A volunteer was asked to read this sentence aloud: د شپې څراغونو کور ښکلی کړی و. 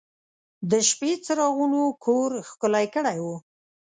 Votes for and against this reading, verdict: 2, 0, accepted